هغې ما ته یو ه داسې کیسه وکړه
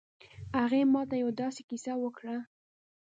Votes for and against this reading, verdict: 1, 2, rejected